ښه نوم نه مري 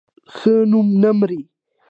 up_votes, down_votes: 2, 0